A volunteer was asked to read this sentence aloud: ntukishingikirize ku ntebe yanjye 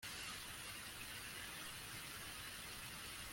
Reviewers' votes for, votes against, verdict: 0, 2, rejected